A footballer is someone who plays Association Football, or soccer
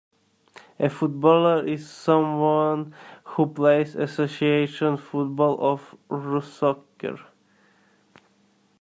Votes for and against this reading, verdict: 0, 2, rejected